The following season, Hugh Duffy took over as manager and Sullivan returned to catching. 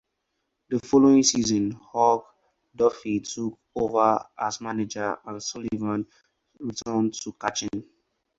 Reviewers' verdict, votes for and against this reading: rejected, 0, 2